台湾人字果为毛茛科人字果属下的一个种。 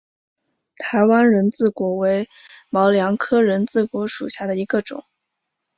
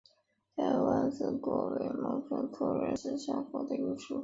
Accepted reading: first